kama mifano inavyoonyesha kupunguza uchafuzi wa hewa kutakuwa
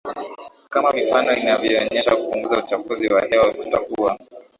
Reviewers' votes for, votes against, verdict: 2, 0, accepted